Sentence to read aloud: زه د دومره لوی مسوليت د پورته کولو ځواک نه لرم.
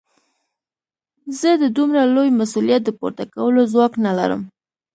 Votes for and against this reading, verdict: 2, 0, accepted